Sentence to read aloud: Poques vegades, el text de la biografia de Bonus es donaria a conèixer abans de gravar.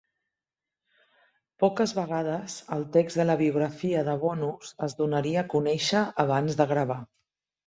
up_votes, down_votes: 3, 0